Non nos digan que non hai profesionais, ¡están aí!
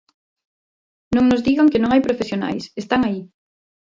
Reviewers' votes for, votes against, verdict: 2, 0, accepted